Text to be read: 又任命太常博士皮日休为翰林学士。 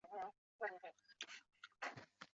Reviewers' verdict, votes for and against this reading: rejected, 0, 2